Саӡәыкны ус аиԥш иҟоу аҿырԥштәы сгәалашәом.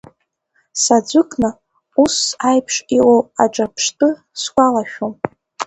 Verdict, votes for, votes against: rejected, 1, 2